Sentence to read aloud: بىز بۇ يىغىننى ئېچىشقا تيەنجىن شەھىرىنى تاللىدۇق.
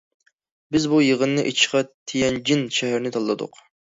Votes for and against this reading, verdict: 0, 2, rejected